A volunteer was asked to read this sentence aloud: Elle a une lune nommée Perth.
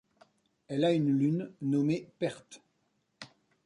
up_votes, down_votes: 1, 2